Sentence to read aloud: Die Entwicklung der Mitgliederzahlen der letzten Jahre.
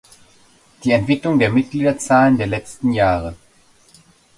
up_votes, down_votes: 2, 0